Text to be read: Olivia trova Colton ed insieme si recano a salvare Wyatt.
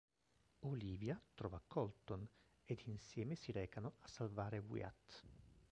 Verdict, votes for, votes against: rejected, 1, 2